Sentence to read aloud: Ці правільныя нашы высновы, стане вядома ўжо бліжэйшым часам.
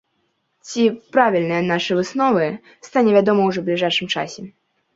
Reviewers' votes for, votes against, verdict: 0, 2, rejected